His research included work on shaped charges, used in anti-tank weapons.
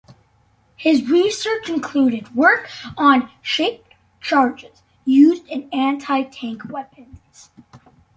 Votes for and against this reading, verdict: 2, 0, accepted